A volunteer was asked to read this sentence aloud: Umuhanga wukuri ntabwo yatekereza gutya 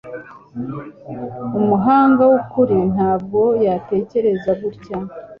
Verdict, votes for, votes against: accepted, 2, 0